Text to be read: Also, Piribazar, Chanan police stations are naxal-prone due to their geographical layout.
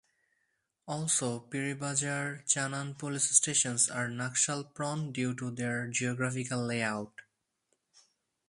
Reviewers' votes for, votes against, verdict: 2, 0, accepted